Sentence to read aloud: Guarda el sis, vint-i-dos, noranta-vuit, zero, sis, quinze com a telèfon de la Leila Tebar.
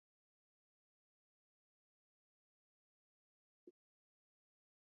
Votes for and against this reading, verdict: 0, 2, rejected